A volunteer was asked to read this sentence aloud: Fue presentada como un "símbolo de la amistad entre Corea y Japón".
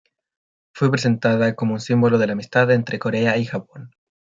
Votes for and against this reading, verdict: 2, 1, accepted